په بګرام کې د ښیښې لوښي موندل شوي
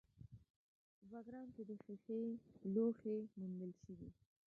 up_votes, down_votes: 0, 2